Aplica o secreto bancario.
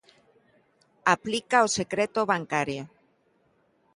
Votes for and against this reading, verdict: 1, 2, rejected